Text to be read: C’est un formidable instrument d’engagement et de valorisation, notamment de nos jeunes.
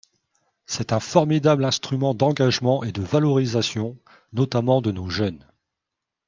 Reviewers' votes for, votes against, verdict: 5, 0, accepted